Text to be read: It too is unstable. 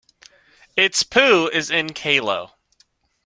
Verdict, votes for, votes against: rejected, 0, 2